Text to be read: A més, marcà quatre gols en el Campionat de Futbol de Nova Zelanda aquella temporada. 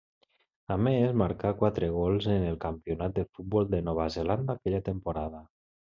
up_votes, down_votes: 1, 2